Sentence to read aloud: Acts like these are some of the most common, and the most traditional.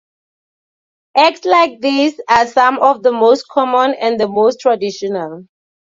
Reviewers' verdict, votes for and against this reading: accepted, 2, 0